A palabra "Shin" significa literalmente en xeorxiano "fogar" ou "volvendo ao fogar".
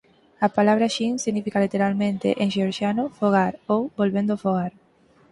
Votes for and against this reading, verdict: 4, 0, accepted